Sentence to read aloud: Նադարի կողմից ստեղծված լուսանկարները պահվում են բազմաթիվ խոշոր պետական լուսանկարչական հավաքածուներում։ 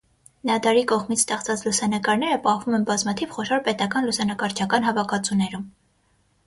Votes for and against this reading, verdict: 3, 3, rejected